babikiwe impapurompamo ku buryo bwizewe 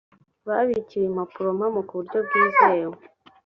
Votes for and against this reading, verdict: 4, 0, accepted